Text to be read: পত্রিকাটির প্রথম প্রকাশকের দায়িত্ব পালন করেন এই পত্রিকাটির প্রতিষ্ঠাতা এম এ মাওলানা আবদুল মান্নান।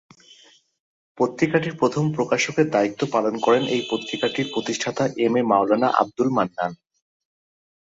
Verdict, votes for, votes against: accepted, 2, 0